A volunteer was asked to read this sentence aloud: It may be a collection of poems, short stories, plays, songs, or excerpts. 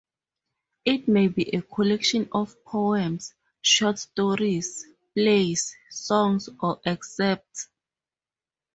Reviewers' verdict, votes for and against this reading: accepted, 4, 0